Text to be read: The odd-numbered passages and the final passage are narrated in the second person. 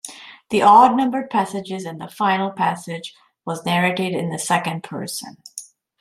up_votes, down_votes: 0, 2